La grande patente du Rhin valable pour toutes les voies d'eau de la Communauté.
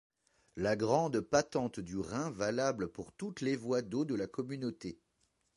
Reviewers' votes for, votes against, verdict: 0, 2, rejected